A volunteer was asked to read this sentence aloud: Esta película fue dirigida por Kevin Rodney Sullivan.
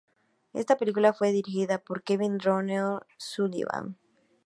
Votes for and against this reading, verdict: 2, 0, accepted